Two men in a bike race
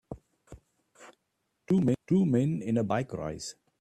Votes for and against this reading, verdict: 1, 2, rejected